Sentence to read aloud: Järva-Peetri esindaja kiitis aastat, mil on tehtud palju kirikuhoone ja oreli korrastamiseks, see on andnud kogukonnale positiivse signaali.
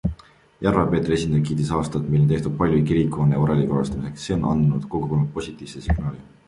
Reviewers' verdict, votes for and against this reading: accepted, 2, 1